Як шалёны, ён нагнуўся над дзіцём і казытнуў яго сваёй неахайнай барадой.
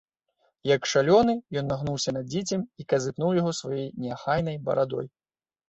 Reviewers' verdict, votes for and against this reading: rejected, 0, 2